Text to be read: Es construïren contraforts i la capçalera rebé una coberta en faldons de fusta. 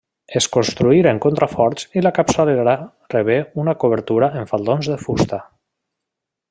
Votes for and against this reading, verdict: 1, 2, rejected